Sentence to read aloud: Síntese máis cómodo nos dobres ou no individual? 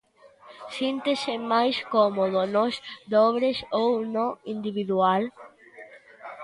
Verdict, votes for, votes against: accepted, 2, 0